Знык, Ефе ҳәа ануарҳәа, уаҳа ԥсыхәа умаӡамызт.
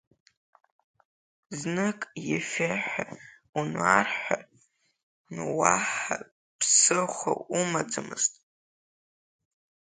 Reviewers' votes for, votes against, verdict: 0, 2, rejected